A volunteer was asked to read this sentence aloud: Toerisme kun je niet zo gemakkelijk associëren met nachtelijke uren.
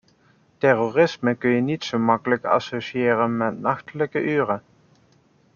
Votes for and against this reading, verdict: 0, 2, rejected